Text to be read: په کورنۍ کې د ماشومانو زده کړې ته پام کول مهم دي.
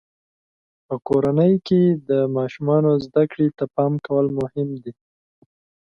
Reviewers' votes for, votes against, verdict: 2, 0, accepted